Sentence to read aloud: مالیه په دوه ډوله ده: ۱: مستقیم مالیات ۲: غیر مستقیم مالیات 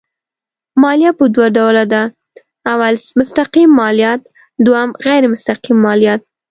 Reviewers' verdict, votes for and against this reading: rejected, 0, 2